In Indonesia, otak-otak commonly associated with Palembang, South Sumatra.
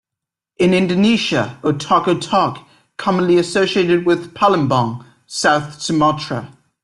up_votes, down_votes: 2, 0